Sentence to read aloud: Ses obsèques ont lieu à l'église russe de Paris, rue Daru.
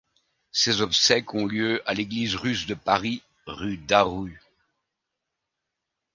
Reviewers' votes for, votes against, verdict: 2, 0, accepted